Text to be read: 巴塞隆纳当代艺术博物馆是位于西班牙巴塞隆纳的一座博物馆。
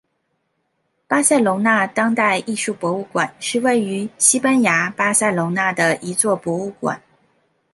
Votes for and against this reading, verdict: 2, 0, accepted